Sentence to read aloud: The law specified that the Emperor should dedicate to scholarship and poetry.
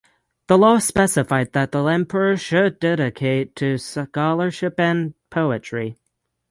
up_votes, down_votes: 3, 3